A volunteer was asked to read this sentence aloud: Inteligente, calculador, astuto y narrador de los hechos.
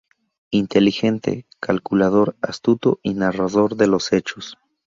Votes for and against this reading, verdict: 2, 0, accepted